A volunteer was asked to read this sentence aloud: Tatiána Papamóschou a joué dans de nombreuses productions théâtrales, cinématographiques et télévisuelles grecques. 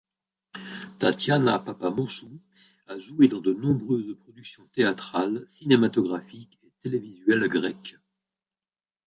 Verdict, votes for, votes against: rejected, 1, 2